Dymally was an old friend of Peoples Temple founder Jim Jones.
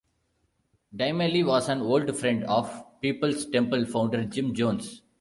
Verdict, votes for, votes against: accepted, 2, 0